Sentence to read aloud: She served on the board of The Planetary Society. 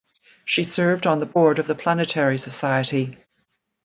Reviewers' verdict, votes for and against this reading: accepted, 2, 0